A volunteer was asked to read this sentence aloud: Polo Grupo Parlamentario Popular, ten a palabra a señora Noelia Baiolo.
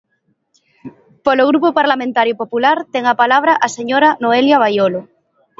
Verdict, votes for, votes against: accepted, 2, 0